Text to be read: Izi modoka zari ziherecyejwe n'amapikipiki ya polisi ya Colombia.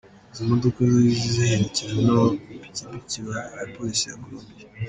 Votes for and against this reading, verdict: 1, 2, rejected